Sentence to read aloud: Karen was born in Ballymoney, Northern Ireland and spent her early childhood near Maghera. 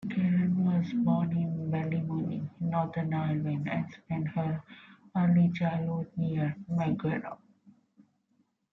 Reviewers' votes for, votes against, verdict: 1, 3, rejected